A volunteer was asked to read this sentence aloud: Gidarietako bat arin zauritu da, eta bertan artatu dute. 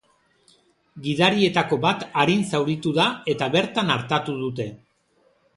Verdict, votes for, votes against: accepted, 2, 0